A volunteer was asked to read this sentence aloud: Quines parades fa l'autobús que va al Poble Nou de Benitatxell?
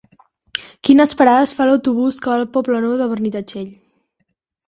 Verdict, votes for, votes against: accepted, 2, 0